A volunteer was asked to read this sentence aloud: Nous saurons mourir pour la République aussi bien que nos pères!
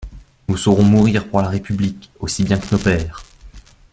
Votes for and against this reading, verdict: 1, 2, rejected